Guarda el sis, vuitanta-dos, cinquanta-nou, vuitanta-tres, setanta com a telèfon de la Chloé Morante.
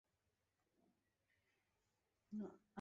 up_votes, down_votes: 0, 2